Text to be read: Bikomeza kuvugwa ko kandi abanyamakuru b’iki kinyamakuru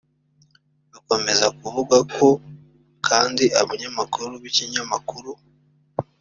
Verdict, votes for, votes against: rejected, 1, 2